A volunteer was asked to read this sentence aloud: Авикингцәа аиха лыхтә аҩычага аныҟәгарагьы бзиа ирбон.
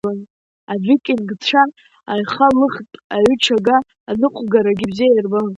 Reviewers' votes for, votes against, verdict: 0, 3, rejected